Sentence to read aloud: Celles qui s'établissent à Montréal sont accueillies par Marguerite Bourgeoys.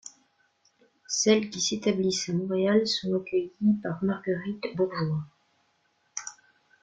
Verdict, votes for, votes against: accepted, 2, 0